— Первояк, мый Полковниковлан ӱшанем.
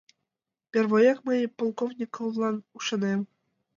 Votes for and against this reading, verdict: 2, 1, accepted